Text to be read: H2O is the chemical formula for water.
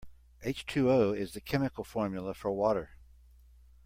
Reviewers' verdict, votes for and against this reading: rejected, 0, 2